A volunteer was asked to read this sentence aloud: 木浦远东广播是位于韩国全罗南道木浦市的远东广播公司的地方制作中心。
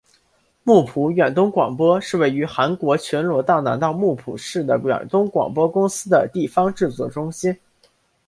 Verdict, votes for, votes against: accepted, 2, 0